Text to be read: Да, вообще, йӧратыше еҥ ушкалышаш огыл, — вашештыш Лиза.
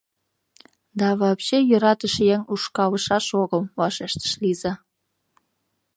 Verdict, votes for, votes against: accepted, 2, 0